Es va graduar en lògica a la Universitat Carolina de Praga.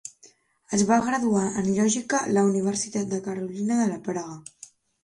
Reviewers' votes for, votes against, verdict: 0, 3, rejected